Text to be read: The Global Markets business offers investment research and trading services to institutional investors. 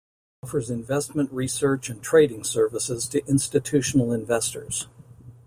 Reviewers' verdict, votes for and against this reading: rejected, 0, 2